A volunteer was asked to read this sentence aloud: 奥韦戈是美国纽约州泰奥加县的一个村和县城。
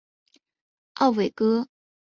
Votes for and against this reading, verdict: 5, 3, accepted